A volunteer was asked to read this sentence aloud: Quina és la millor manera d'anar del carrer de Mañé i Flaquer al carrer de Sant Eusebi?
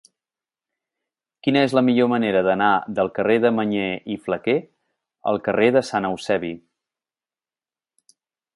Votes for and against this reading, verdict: 2, 0, accepted